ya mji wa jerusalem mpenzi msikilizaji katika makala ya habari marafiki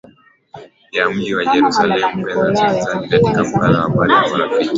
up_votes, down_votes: 0, 2